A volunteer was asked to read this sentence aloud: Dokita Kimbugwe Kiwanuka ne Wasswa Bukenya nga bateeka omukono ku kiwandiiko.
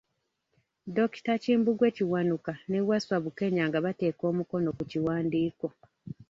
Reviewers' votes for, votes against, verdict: 1, 2, rejected